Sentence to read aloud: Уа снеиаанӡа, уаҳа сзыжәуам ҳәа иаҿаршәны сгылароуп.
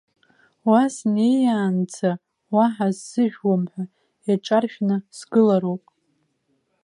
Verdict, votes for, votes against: accepted, 2, 0